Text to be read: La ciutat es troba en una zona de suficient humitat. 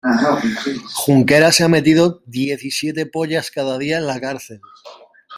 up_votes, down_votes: 0, 2